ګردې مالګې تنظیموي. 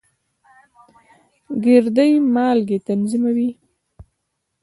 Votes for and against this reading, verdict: 2, 0, accepted